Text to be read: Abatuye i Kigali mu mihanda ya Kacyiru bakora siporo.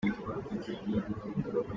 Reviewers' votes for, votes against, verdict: 0, 3, rejected